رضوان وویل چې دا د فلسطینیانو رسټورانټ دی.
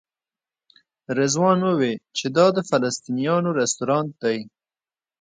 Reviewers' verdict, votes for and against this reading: accepted, 2, 1